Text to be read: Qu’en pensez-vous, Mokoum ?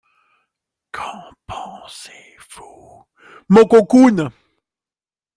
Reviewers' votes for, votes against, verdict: 0, 2, rejected